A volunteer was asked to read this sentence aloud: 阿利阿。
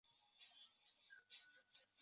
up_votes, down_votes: 0, 3